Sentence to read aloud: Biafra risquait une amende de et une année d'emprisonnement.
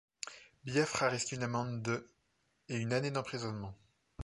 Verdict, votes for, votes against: rejected, 1, 2